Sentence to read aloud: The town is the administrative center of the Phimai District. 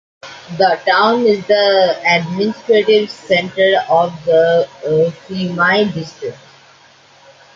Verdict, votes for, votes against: accepted, 2, 1